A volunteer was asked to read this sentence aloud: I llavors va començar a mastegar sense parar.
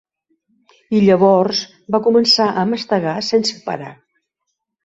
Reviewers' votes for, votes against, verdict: 3, 0, accepted